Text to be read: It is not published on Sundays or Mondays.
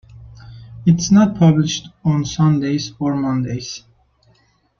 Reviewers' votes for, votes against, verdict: 1, 2, rejected